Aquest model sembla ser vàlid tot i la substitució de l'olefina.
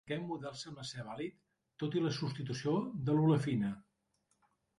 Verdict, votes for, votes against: rejected, 1, 2